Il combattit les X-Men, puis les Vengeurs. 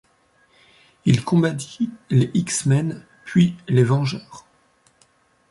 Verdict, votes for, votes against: accepted, 2, 0